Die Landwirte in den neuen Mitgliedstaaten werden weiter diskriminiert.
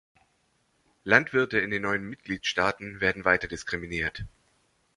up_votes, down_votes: 0, 3